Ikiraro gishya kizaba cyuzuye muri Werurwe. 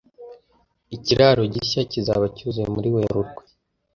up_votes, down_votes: 2, 0